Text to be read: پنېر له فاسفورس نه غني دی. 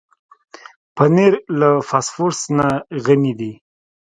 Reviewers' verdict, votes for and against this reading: accepted, 2, 0